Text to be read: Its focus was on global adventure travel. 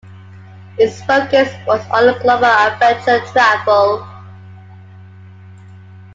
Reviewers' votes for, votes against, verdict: 2, 1, accepted